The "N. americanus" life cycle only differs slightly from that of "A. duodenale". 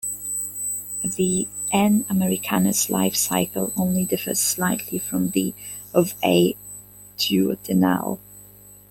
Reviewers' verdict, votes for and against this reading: rejected, 0, 2